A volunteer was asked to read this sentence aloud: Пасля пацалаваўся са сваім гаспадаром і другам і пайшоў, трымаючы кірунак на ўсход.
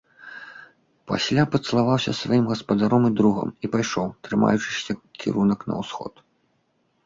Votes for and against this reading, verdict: 0, 2, rejected